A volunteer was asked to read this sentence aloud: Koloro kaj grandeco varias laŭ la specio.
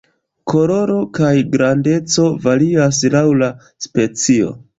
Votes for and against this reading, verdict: 2, 0, accepted